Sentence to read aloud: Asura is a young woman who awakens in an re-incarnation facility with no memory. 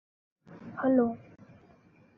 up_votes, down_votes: 0, 2